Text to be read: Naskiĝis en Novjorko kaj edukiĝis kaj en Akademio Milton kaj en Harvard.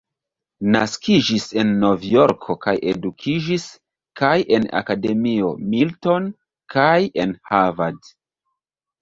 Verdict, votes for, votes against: rejected, 1, 2